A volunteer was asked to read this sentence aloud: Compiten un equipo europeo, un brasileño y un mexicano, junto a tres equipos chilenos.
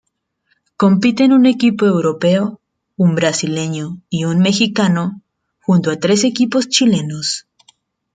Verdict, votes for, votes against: rejected, 1, 2